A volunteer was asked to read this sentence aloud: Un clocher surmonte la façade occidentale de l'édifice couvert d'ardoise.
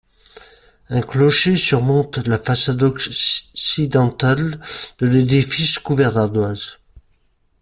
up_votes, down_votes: 2, 1